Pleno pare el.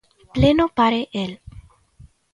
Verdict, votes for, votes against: accepted, 2, 0